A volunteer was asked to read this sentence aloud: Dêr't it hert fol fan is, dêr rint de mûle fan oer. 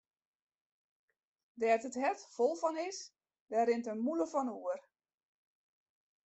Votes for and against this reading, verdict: 1, 2, rejected